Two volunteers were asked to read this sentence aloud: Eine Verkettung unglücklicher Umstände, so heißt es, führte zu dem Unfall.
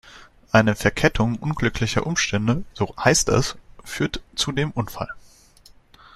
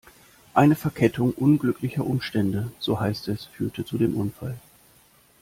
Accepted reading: second